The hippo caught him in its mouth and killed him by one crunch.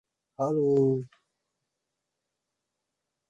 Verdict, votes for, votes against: rejected, 0, 3